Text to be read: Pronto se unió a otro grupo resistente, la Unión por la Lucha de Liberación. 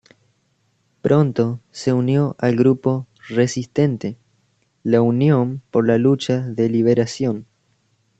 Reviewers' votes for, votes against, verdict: 0, 2, rejected